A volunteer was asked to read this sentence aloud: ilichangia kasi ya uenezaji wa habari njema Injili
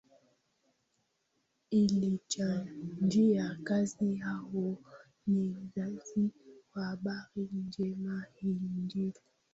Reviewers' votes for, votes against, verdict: 0, 2, rejected